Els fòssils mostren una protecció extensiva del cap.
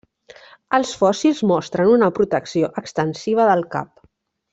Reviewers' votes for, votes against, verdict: 2, 0, accepted